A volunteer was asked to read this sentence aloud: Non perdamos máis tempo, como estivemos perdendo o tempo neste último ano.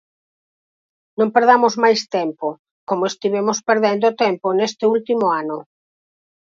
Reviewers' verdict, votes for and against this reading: accepted, 4, 0